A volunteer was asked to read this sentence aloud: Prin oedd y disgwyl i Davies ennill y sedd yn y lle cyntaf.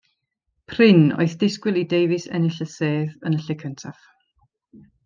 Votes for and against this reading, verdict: 2, 1, accepted